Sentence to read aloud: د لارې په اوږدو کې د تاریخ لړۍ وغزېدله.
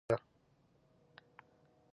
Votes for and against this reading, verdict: 1, 2, rejected